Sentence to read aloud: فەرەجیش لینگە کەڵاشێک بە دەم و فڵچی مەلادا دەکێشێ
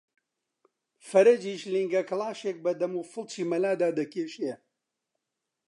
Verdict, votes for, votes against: accepted, 2, 0